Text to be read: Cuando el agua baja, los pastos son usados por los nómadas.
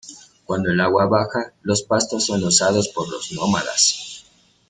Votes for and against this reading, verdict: 2, 1, accepted